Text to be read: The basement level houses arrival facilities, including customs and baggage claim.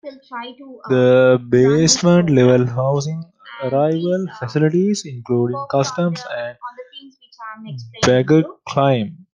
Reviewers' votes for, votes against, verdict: 0, 2, rejected